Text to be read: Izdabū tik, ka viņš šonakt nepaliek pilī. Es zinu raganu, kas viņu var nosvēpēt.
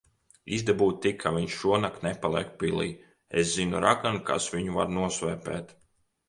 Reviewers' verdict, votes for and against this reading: accepted, 2, 0